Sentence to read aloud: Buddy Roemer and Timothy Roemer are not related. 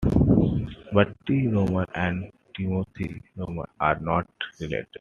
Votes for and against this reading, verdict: 1, 2, rejected